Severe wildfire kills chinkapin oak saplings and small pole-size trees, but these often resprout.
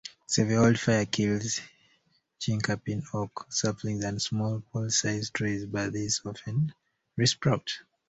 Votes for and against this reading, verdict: 1, 2, rejected